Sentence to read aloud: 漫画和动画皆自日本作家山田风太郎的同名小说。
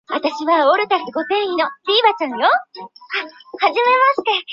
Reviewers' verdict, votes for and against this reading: rejected, 0, 3